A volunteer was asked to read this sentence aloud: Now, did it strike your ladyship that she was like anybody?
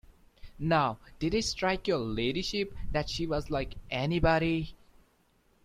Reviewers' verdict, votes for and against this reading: accepted, 2, 0